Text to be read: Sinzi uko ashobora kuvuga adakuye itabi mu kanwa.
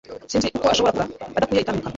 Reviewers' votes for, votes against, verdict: 1, 2, rejected